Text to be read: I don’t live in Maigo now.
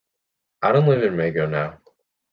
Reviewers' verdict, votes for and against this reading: accepted, 2, 0